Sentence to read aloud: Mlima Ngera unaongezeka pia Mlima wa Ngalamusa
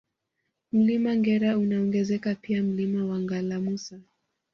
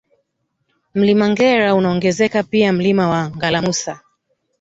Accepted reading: first